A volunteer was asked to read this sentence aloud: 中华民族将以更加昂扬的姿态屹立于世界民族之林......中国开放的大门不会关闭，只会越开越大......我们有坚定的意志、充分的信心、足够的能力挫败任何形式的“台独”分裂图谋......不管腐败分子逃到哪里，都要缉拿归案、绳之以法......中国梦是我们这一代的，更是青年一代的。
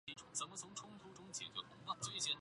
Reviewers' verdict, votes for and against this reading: rejected, 0, 6